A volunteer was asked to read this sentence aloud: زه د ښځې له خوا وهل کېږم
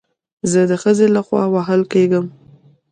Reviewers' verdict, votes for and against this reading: rejected, 1, 2